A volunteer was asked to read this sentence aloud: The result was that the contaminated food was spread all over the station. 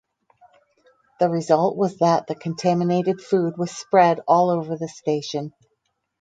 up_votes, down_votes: 2, 2